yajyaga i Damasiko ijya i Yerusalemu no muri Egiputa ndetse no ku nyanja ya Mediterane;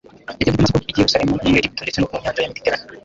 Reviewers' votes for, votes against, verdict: 0, 2, rejected